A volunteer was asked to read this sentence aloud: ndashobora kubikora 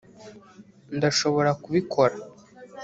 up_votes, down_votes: 0, 2